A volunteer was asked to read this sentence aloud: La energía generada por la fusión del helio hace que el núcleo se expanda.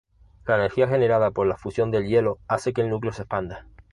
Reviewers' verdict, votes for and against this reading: accepted, 2, 0